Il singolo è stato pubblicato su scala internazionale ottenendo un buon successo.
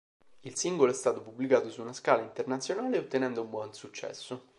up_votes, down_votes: 2, 4